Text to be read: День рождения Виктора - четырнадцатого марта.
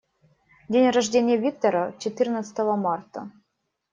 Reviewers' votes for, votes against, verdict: 2, 0, accepted